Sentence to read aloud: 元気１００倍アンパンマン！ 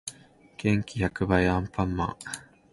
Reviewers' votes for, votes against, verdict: 0, 2, rejected